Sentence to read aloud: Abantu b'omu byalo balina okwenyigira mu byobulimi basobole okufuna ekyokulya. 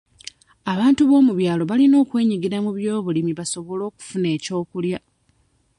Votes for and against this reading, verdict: 2, 0, accepted